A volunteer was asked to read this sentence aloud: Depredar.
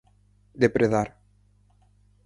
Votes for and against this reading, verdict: 4, 0, accepted